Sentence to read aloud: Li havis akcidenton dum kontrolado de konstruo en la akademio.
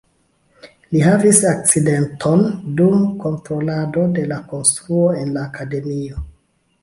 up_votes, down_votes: 2, 1